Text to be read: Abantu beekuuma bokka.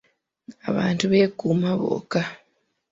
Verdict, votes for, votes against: rejected, 0, 2